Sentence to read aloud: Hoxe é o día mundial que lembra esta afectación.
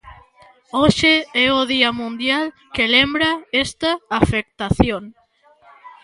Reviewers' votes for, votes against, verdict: 1, 2, rejected